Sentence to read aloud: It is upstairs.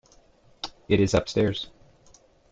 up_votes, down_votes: 2, 0